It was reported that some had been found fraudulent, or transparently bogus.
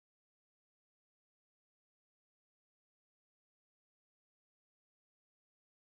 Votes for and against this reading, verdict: 0, 2, rejected